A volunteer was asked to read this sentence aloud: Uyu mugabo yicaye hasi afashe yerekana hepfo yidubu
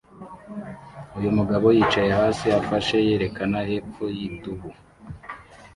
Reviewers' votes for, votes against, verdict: 2, 1, accepted